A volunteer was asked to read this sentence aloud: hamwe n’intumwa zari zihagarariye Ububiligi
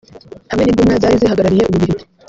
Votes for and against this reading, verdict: 0, 2, rejected